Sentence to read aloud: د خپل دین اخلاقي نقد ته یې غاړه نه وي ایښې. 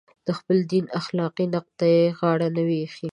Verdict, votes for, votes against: accepted, 2, 0